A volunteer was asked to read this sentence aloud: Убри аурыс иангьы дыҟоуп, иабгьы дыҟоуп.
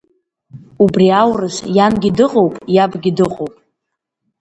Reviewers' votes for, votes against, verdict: 2, 1, accepted